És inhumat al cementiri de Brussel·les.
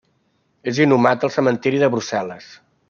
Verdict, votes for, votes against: accepted, 3, 0